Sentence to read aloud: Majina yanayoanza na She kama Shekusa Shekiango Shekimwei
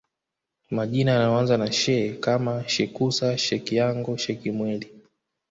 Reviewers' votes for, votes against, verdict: 2, 1, accepted